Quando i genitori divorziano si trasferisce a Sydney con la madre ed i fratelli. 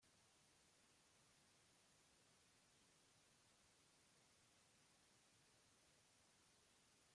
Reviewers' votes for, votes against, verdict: 0, 2, rejected